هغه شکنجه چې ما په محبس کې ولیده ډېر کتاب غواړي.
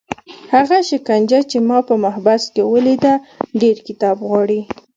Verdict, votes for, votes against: accepted, 2, 0